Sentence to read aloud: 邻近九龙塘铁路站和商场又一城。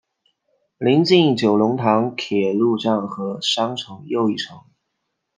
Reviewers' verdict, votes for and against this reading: accepted, 2, 0